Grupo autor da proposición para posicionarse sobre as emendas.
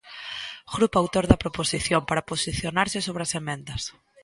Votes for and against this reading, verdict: 2, 0, accepted